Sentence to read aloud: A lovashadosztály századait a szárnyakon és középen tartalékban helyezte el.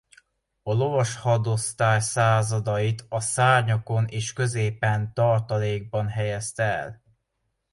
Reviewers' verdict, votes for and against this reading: accepted, 2, 0